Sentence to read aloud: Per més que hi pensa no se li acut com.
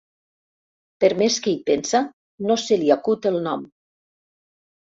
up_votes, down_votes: 0, 2